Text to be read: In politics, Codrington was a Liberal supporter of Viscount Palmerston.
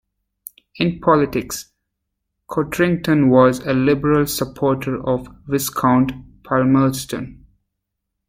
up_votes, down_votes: 1, 2